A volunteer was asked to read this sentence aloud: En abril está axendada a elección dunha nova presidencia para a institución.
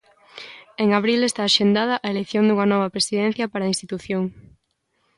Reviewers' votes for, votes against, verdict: 2, 0, accepted